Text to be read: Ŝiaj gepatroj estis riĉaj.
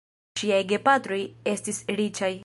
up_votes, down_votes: 0, 2